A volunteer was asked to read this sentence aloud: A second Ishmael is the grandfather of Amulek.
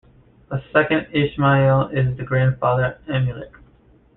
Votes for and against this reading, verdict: 0, 2, rejected